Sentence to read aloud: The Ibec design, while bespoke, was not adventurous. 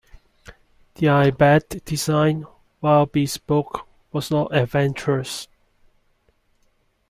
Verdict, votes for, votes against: accepted, 2, 1